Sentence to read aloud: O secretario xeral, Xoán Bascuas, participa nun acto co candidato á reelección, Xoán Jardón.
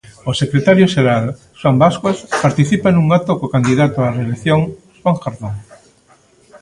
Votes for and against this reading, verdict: 0, 2, rejected